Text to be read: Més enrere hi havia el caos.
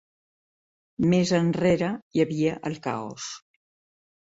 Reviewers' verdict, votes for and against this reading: accepted, 3, 0